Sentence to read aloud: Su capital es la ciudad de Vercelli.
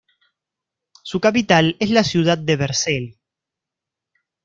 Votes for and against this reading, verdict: 0, 2, rejected